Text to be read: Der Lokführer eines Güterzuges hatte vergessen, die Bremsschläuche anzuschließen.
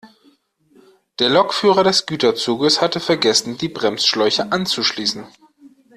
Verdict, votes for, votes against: rejected, 0, 2